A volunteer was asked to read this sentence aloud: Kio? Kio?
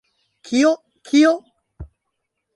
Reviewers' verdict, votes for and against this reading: accepted, 2, 1